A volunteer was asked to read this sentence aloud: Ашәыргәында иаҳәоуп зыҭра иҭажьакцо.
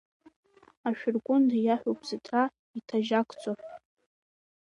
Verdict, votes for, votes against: accepted, 2, 1